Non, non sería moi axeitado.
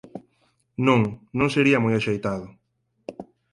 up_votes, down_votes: 4, 0